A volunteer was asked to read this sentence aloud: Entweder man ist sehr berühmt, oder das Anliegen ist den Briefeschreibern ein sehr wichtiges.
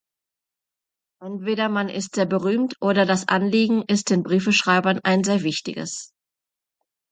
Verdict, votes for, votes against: accepted, 2, 0